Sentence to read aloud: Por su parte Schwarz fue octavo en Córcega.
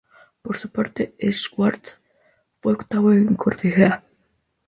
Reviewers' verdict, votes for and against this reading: rejected, 0, 2